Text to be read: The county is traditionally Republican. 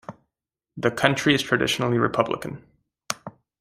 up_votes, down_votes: 0, 2